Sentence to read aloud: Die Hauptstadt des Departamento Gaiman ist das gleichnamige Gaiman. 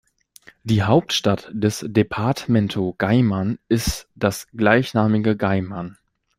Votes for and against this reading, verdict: 1, 2, rejected